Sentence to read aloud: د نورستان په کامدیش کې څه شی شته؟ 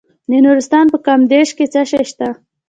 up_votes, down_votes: 2, 0